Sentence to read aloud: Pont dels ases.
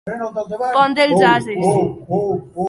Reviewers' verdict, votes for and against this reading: rejected, 1, 4